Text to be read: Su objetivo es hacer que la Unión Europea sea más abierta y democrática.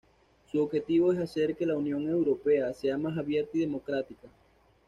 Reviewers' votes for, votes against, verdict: 2, 0, accepted